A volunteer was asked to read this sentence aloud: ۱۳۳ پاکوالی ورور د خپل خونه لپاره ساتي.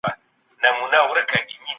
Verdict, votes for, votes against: rejected, 0, 2